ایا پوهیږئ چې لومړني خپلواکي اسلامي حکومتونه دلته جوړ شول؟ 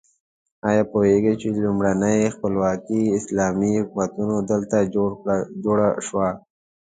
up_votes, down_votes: 1, 2